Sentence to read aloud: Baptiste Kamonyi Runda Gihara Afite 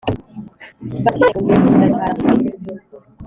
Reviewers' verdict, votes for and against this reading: rejected, 1, 2